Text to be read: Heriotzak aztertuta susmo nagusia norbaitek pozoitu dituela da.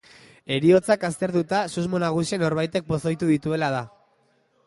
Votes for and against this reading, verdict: 2, 1, accepted